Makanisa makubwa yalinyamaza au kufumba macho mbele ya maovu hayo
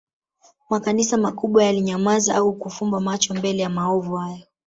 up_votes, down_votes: 0, 2